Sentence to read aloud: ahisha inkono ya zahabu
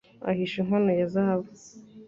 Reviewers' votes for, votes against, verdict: 2, 0, accepted